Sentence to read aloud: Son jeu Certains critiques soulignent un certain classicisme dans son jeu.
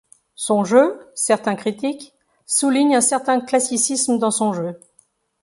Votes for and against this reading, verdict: 2, 0, accepted